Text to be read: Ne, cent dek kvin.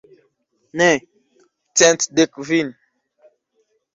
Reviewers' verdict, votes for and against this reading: rejected, 1, 2